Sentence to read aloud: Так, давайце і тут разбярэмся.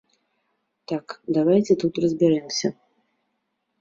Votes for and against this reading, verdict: 1, 2, rejected